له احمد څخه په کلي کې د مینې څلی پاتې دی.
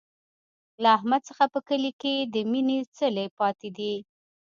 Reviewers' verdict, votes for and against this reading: rejected, 1, 2